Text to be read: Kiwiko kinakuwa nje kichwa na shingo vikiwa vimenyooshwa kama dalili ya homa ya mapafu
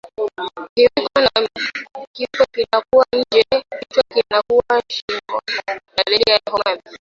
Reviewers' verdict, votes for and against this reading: rejected, 0, 2